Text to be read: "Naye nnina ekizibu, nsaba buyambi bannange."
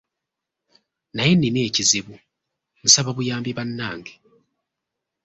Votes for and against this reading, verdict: 2, 0, accepted